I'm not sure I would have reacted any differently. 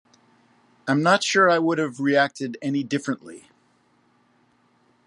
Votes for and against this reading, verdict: 2, 0, accepted